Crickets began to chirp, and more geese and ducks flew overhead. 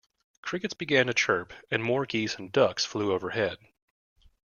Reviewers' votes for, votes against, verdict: 2, 0, accepted